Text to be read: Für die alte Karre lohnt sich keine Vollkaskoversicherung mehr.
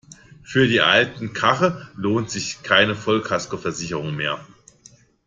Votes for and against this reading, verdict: 1, 2, rejected